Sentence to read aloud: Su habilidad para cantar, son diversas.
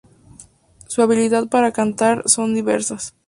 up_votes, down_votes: 2, 0